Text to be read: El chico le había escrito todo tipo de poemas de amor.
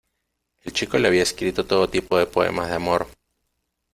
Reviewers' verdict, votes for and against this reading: accepted, 2, 0